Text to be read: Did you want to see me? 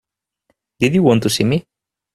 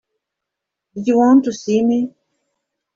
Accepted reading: first